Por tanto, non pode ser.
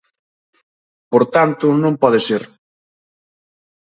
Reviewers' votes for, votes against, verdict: 2, 0, accepted